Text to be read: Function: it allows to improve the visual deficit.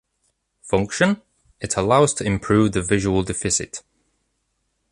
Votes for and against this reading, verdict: 2, 0, accepted